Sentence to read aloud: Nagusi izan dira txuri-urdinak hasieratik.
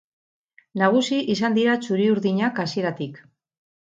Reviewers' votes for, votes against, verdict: 4, 0, accepted